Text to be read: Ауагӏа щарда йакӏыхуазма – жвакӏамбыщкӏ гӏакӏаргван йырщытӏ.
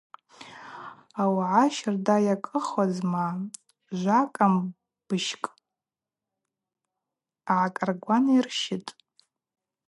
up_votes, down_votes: 2, 0